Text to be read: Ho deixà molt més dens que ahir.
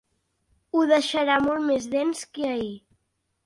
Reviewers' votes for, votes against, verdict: 0, 2, rejected